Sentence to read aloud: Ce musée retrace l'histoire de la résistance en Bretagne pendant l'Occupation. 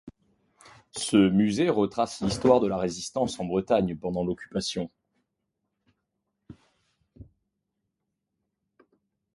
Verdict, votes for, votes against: accepted, 2, 0